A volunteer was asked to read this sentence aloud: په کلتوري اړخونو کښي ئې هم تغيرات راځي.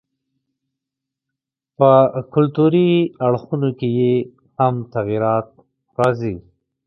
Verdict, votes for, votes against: rejected, 1, 2